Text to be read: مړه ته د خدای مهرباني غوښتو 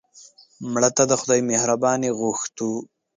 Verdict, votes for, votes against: rejected, 1, 2